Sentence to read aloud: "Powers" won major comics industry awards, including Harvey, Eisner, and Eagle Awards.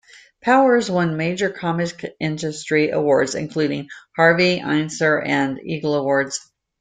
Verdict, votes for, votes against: rejected, 1, 2